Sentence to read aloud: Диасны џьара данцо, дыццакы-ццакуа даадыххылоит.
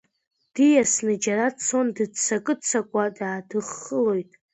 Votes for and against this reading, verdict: 0, 2, rejected